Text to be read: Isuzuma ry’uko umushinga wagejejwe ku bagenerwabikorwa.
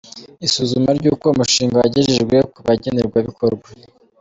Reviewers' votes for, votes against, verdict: 2, 0, accepted